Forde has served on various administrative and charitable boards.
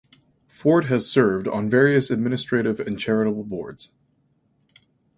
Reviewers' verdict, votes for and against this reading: accepted, 4, 0